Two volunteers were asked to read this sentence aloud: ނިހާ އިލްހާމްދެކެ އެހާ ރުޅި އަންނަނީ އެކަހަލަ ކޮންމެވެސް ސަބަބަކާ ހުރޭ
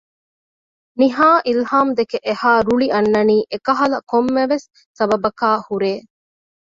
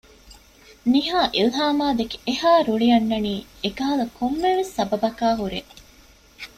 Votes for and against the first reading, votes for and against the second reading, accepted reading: 2, 0, 1, 2, first